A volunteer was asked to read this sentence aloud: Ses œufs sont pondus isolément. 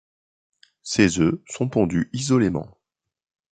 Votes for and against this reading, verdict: 2, 0, accepted